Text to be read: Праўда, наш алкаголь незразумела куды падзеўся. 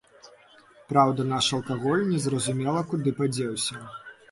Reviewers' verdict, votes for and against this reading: accepted, 2, 0